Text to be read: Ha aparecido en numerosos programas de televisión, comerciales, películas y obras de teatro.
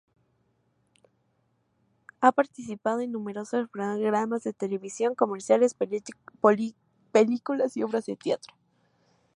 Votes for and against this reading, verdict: 2, 0, accepted